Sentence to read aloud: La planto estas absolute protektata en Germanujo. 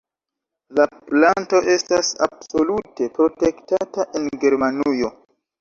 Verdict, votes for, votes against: accepted, 2, 0